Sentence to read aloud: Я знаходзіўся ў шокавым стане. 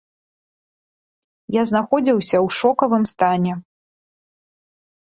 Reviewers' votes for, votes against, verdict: 2, 0, accepted